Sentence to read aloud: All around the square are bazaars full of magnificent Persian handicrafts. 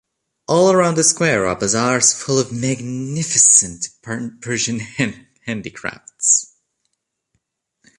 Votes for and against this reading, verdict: 0, 2, rejected